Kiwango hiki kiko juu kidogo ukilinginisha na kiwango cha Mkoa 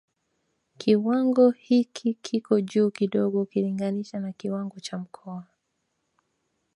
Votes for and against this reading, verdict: 3, 0, accepted